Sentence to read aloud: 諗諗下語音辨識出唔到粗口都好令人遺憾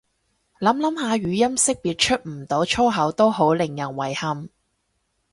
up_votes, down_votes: 0, 2